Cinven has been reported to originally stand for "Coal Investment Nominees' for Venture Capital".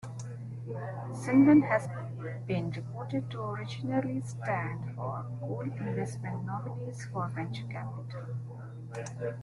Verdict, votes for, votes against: accepted, 2, 1